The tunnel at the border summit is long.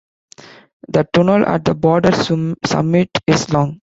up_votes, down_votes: 0, 2